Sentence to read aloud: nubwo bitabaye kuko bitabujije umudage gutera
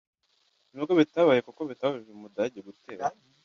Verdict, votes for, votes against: rejected, 1, 2